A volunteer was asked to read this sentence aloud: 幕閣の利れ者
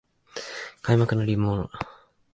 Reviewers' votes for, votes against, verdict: 2, 4, rejected